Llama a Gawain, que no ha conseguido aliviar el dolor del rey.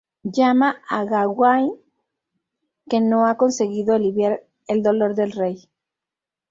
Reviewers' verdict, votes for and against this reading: rejected, 2, 2